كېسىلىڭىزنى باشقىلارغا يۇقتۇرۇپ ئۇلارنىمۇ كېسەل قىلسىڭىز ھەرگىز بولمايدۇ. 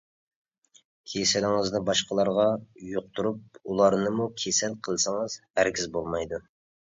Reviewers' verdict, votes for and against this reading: accepted, 2, 0